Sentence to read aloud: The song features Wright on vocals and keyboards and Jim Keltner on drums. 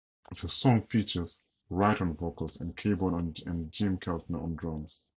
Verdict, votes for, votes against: accepted, 2, 0